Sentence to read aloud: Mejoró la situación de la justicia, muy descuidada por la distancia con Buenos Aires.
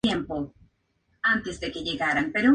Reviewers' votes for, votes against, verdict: 2, 0, accepted